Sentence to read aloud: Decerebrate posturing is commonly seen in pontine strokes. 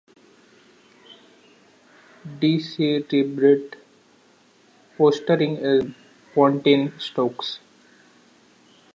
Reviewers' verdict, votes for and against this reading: rejected, 0, 2